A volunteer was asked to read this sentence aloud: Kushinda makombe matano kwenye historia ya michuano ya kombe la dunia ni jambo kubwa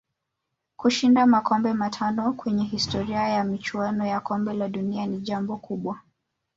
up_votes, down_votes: 4, 1